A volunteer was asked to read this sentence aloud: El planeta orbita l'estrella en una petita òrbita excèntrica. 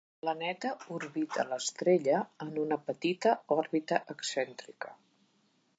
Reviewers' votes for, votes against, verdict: 1, 2, rejected